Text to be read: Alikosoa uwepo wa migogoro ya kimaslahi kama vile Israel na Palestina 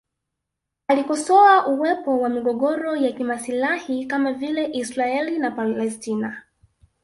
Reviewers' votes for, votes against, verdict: 1, 2, rejected